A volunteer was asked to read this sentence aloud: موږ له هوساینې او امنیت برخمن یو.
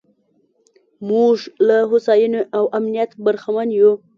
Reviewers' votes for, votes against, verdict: 2, 0, accepted